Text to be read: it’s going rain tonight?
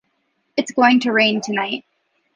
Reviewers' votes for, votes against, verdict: 0, 2, rejected